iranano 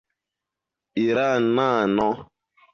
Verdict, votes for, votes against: accepted, 2, 1